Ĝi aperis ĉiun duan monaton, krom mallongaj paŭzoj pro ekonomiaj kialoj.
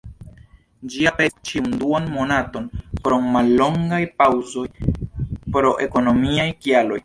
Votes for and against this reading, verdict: 0, 2, rejected